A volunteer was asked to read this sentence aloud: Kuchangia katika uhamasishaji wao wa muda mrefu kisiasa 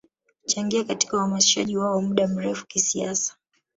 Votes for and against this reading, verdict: 2, 0, accepted